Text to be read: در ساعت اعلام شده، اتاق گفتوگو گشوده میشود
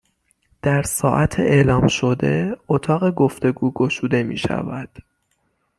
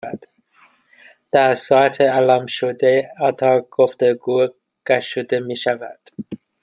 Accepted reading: first